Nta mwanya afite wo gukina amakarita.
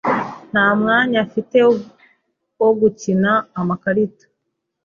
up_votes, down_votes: 1, 3